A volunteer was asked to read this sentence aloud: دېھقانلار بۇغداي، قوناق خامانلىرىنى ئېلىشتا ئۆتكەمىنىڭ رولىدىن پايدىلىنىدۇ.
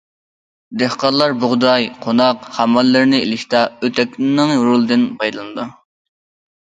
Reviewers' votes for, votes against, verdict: 0, 2, rejected